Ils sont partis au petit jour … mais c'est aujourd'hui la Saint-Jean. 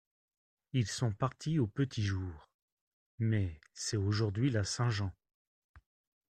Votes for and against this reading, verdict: 2, 0, accepted